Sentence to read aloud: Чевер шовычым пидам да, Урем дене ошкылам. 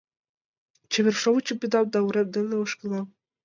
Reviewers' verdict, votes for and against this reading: accepted, 2, 0